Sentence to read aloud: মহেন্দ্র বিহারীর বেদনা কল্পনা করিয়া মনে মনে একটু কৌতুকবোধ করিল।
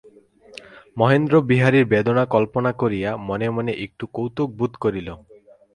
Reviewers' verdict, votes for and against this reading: accepted, 4, 0